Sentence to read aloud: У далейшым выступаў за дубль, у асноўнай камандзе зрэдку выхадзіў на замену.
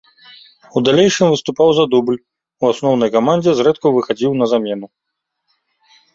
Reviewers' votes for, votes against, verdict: 2, 0, accepted